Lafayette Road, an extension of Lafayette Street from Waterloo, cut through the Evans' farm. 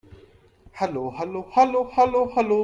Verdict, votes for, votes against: rejected, 1, 2